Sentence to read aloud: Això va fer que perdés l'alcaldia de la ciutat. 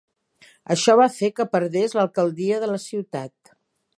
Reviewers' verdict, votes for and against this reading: accepted, 3, 0